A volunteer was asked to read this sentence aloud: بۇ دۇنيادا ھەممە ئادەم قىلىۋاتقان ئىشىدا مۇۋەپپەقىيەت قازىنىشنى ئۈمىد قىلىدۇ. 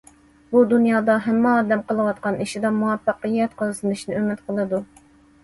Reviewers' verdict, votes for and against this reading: accepted, 2, 0